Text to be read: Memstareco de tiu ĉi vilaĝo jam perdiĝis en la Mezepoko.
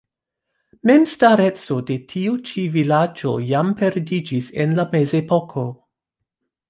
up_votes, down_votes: 1, 2